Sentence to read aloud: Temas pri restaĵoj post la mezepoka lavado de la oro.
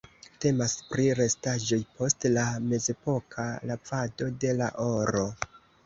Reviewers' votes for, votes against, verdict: 2, 0, accepted